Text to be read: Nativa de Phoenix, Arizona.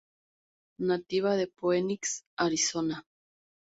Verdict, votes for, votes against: accepted, 2, 0